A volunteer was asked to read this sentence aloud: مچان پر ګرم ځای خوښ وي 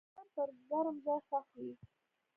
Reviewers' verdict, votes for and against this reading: accepted, 2, 0